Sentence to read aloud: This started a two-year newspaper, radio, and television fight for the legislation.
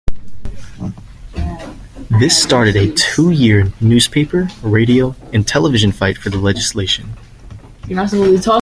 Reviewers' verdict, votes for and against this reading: accepted, 2, 0